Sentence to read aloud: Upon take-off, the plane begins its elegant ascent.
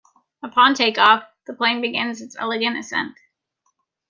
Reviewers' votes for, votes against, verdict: 2, 0, accepted